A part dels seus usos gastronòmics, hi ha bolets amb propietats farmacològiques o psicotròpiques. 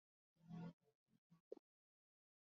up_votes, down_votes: 0, 2